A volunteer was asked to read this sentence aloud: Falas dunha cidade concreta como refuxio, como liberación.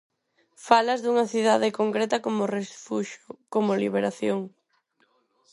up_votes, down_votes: 4, 0